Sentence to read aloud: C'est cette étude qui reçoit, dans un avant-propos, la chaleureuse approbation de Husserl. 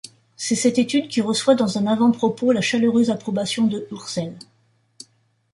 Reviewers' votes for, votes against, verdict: 0, 2, rejected